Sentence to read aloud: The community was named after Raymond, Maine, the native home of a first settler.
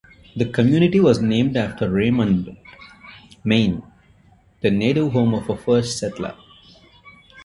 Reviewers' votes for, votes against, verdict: 2, 0, accepted